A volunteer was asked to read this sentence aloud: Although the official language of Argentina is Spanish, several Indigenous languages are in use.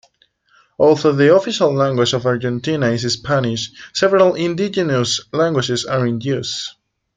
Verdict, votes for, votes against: rejected, 1, 2